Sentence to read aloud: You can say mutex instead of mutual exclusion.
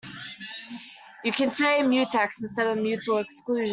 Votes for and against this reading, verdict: 2, 1, accepted